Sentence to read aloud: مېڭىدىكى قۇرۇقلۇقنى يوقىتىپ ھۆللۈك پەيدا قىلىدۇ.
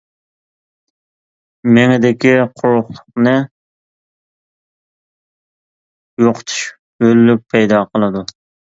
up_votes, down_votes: 0, 2